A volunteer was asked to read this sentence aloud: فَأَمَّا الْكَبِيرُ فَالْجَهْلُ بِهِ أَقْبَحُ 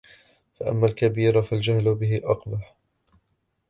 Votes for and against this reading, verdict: 0, 2, rejected